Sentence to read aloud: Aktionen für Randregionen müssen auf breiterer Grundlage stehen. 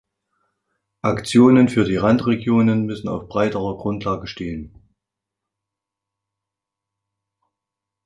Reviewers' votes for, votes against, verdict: 0, 3, rejected